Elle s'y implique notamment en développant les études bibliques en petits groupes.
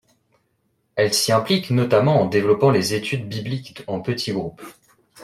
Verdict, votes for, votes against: accepted, 2, 0